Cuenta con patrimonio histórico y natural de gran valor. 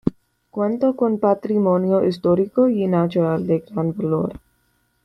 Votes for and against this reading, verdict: 1, 3, rejected